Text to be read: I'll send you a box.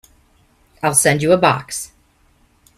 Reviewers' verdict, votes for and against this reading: accepted, 2, 0